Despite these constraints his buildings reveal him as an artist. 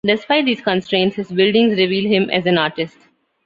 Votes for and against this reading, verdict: 2, 0, accepted